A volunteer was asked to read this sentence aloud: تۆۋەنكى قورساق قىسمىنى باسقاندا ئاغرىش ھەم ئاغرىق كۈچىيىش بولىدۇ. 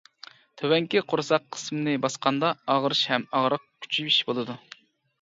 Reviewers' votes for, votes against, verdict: 2, 0, accepted